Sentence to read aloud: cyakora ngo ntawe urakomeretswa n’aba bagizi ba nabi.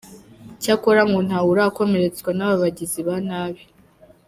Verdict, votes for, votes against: accepted, 2, 0